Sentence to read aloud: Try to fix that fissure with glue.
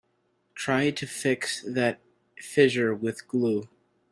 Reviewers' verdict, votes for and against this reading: accepted, 2, 1